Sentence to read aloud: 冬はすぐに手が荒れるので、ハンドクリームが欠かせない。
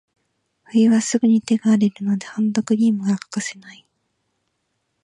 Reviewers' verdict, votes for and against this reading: accepted, 2, 0